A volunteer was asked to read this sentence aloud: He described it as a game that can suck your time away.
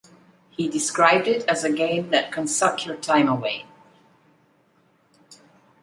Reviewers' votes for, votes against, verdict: 2, 0, accepted